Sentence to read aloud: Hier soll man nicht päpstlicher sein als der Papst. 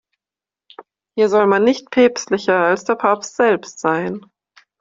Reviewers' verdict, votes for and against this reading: rejected, 0, 2